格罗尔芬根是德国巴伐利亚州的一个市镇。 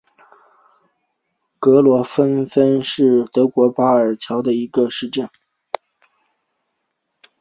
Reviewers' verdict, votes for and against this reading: accepted, 2, 0